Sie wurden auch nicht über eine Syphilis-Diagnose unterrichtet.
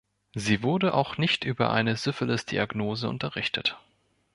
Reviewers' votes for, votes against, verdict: 1, 2, rejected